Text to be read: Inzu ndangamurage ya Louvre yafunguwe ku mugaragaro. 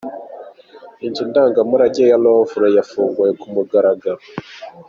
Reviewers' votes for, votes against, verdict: 2, 0, accepted